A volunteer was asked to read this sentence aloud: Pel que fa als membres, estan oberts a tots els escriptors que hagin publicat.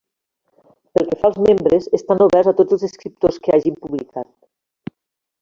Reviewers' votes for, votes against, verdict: 1, 2, rejected